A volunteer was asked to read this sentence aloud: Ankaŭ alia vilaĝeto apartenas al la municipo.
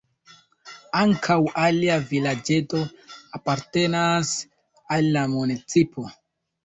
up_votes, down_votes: 2, 1